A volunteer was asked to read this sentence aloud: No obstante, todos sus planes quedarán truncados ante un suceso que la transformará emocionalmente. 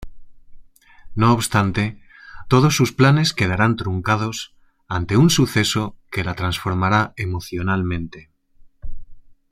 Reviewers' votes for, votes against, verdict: 2, 0, accepted